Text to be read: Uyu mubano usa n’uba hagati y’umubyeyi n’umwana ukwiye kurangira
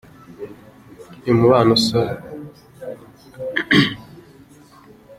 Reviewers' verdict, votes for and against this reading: rejected, 0, 2